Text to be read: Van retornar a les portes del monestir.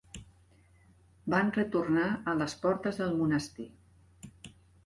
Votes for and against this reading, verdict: 4, 0, accepted